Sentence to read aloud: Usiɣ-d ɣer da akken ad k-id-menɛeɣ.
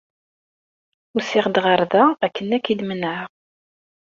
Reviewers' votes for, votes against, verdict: 3, 0, accepted